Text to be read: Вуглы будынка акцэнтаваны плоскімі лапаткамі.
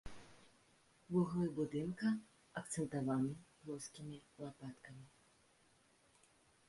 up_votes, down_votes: 1, 2